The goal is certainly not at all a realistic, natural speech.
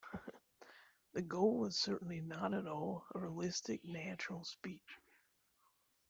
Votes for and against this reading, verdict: 1, 2, rejected